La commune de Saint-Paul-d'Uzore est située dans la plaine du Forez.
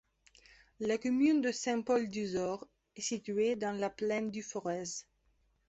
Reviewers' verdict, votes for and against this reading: accepted, 2, 0